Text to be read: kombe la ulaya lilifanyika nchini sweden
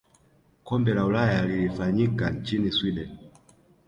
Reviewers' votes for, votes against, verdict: 2, 0, accepted